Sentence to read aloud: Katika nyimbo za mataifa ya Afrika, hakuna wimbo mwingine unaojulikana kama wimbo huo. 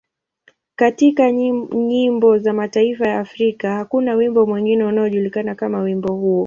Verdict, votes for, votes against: accepted, 3, 0